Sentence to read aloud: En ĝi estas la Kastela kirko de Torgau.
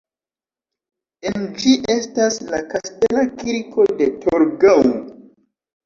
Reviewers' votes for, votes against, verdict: 2, 0, accepted